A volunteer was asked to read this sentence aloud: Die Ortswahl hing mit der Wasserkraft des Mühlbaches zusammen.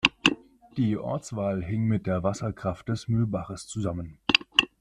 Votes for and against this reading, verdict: 2, 0, accepted